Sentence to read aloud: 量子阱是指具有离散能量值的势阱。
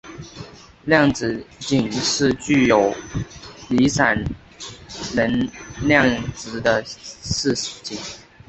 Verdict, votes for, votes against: rejected, 0, 3